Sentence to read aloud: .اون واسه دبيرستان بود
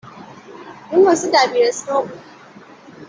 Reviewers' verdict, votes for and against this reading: accepted, 2, 0